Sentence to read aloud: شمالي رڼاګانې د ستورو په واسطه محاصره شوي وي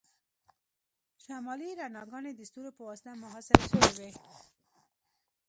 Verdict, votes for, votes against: rejected, 1, 2